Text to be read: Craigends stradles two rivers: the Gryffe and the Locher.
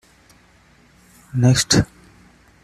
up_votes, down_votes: 0, 2